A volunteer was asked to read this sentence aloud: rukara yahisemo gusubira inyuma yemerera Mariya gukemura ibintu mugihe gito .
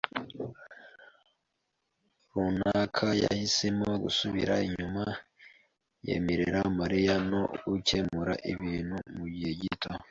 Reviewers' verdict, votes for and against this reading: rejected, 0, 2